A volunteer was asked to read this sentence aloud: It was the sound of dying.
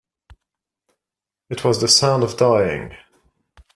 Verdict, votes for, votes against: rejected, 1, 2